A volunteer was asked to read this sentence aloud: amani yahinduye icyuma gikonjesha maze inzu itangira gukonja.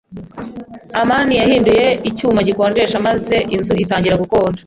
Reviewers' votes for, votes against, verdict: 2, 0, accepted